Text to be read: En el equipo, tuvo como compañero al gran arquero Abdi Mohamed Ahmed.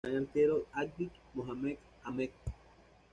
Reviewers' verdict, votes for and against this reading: rejected, 1, 2